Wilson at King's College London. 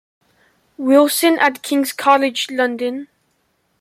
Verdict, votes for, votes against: accepted, 2, 0